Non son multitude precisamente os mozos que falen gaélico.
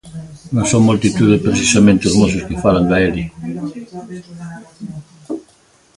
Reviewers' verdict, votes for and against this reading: rejected, 1, 2